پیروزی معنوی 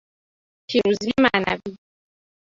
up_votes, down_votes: 0, 2